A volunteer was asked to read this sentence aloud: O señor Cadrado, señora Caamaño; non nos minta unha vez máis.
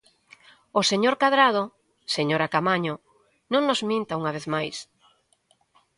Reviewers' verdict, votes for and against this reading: accepted, 2, 0